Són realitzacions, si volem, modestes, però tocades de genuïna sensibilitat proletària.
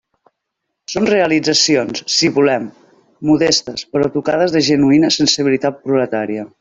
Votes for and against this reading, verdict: 3, 0, accepted